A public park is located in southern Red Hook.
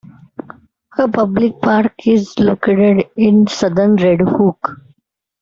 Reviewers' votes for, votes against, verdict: 2, 0, accepted